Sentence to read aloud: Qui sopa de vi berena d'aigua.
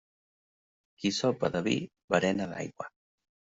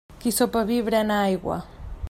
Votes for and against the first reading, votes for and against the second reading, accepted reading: 2, 0, 0, 2, first